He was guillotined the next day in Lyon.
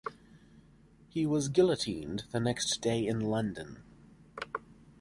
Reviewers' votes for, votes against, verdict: 1, 2, rejected